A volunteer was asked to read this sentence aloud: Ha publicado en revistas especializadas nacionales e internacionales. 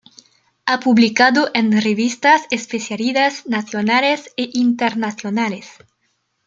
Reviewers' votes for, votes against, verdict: 0, 2, rejected